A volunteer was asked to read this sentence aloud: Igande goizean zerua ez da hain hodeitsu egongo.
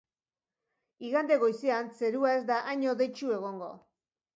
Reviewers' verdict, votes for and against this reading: accepted, 2, 0